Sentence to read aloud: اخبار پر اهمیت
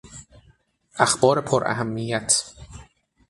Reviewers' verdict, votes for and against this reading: accepted, 6, 0